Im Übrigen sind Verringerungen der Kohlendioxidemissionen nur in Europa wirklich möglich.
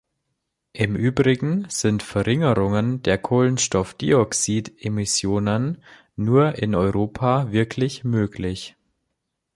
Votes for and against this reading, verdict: 0, 3, rejected